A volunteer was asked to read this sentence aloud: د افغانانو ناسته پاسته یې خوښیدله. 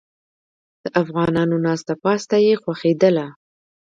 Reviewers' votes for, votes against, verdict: 0, 2, rejected